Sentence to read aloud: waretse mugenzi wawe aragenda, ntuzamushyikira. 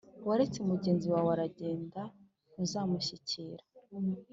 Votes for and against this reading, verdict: 2, 0, accepted